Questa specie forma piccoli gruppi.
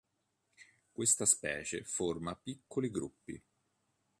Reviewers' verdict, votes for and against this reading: accepted, 2, 0